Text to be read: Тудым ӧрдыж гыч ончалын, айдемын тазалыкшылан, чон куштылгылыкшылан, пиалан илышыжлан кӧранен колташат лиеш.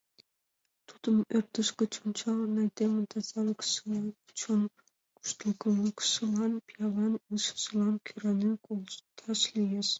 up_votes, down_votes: 0, 2